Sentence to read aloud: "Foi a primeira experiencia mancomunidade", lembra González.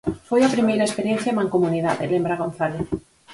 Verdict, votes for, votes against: rejected, 2, 2